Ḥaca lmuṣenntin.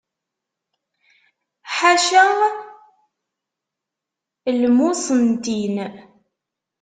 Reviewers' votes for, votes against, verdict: 1, 2, rejected